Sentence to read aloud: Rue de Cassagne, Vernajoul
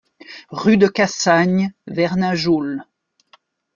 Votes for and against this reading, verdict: 2, 0, accepted